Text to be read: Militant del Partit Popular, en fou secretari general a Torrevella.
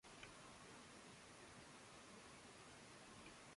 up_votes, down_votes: 0, 2